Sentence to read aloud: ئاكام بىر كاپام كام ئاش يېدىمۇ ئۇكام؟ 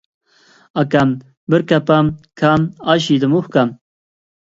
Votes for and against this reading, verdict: 2, 0, accepted